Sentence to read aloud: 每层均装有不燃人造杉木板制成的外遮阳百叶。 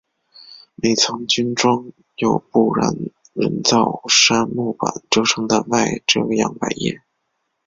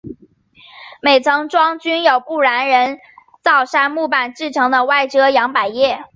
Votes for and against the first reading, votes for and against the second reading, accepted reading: 3, 0, 1, 2, first